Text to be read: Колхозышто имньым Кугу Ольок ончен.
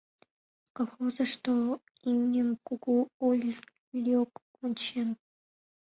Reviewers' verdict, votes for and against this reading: rejected, 0, 2